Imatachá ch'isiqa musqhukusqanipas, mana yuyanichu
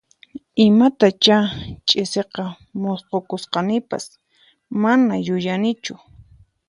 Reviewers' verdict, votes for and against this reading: accepted, 4, 0